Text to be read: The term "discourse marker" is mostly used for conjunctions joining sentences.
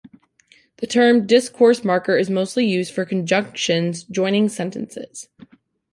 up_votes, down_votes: 2, 0